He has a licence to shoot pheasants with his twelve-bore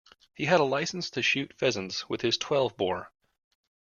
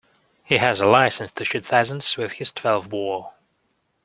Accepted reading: second